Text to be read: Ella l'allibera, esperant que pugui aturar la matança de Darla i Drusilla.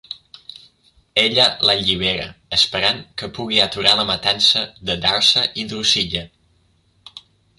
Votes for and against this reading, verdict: 0, 2, rejected